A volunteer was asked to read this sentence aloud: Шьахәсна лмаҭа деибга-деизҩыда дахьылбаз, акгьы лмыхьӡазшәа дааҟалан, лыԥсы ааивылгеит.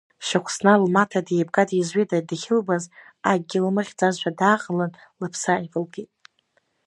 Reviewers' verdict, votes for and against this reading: accepted, 2, 0